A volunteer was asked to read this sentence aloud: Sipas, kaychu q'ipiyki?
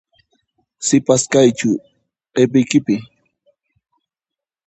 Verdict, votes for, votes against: rejected, 0, 2